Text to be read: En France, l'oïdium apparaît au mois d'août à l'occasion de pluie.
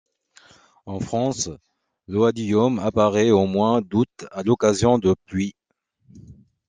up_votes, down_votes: 0, 2